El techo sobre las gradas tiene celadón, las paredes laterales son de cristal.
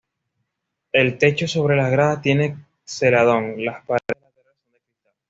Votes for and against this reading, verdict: 0, 2, rejected